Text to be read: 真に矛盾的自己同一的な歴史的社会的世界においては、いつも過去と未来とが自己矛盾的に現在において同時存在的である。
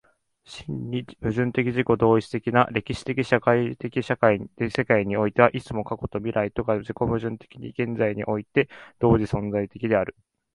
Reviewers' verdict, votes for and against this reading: rejected, 0, 2